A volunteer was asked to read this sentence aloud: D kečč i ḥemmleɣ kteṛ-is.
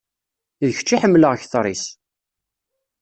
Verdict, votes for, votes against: accepted, 2, 0